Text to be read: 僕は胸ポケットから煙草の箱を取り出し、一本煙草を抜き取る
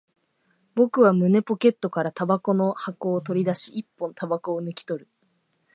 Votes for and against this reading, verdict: 2, 0, accepted